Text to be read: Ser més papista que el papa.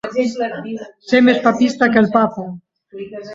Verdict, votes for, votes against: rejected, 0, 2